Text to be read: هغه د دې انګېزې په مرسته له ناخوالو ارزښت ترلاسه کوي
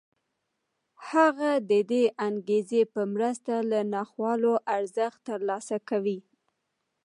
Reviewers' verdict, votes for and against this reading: accepted, 2, 1